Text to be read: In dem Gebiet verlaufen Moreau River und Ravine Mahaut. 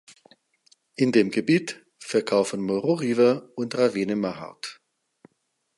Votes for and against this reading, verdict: 0, 4, rejected